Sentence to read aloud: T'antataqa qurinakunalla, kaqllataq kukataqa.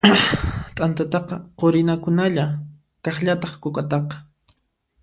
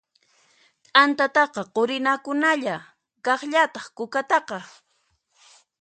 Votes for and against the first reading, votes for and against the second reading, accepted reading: 1, 2, 2, 0, second